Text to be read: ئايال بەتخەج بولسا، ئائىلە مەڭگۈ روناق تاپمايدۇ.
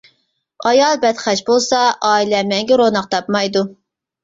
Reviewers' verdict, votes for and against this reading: accepted, 2, 0